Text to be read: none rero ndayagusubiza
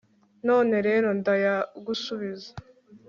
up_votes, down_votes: 2, 0